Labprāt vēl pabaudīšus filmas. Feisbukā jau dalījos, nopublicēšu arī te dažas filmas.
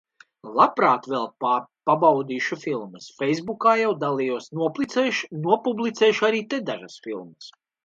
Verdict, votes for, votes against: rejected, 1, 2